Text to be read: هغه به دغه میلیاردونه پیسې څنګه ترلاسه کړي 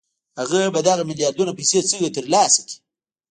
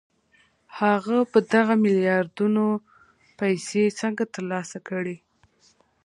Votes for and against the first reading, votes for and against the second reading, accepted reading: 0, 2, 2, 0, second